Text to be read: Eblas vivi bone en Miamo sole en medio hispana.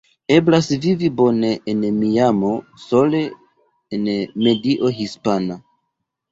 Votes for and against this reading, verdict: 1, 2, rejected